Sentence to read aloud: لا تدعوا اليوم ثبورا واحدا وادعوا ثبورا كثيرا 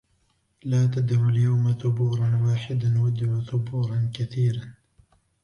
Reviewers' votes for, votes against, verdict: 0, 2, rejected